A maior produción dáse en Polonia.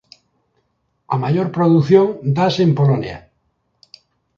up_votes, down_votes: 2, 0